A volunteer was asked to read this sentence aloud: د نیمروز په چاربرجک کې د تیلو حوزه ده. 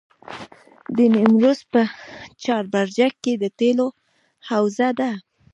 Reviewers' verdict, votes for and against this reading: rejected, 1, 2